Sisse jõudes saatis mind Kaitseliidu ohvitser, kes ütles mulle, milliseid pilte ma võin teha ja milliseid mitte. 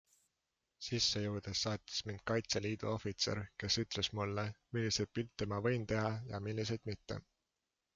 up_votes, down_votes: 2, 0